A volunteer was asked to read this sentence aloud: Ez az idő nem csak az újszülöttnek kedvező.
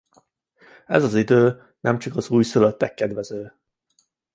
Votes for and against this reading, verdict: 1, 2, rejected